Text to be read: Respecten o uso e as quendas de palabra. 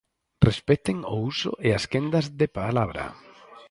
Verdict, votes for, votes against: accepted, 4, 0